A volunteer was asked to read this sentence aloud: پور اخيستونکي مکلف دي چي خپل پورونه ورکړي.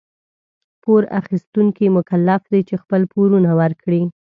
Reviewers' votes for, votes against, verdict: 2, 0, accepted